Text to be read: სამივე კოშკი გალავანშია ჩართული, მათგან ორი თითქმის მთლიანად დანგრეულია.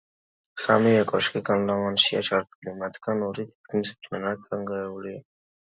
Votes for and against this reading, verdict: 2, 1, accepted